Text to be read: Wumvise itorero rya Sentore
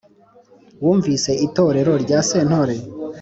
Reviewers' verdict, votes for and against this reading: accepted, 2, 0